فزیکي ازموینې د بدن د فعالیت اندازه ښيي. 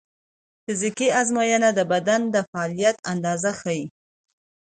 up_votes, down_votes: 2, 0